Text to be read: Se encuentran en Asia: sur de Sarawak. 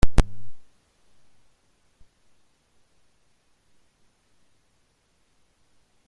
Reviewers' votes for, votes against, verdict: 0, 2, rejected